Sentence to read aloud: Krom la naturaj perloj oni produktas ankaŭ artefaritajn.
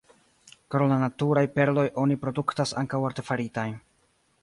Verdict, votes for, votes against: rejected, 1, 2